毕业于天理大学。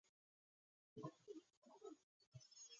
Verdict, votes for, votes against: rejected, 1, 2